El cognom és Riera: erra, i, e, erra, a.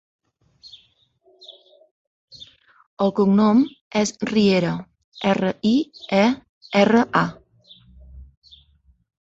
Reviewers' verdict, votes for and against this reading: accepted, 4, 1